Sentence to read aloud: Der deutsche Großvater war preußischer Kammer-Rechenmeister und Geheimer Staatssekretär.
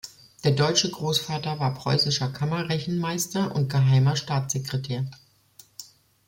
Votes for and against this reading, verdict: 2, 0, accepted